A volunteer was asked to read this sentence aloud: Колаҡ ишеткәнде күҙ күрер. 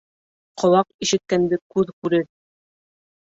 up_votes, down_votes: 0, 2